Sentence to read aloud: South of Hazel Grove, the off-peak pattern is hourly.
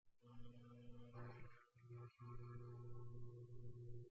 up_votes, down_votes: 0, 2